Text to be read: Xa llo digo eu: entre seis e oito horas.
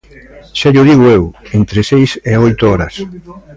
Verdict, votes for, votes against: accepted, 2, 0